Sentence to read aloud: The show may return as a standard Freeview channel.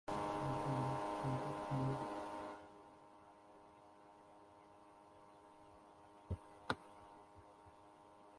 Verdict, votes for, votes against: rejected, 0, 2